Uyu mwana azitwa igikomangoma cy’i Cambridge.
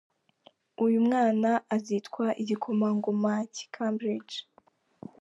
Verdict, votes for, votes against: accepted, 2, 0